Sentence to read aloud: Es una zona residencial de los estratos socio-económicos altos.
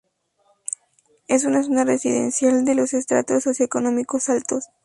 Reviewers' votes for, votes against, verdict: 2, 0, accepted